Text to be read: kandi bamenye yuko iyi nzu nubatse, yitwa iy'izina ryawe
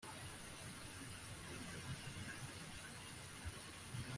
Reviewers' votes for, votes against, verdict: 0, 2, rejected